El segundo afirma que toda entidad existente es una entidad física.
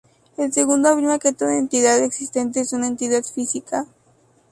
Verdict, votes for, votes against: rejected, 0, 2